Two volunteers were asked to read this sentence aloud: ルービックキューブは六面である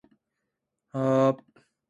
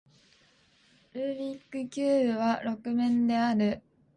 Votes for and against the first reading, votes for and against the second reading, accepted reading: 3, 6, 2, 0, second